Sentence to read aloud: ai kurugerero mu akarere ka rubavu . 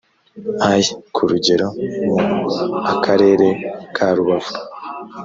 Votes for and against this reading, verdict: 1, 2, rejected